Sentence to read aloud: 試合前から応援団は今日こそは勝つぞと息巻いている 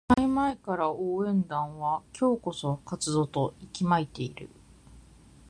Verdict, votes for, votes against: accepted, 2, 0